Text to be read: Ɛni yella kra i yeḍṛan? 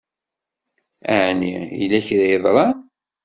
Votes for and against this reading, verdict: 2, 0, accepted